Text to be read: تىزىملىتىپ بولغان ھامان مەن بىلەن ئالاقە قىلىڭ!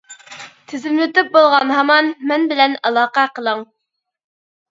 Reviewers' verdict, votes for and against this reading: accepted, 2, 0